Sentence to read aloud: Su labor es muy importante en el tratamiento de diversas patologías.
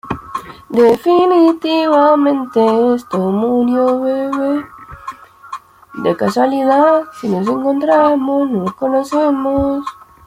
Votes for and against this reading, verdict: 0, 2, rejected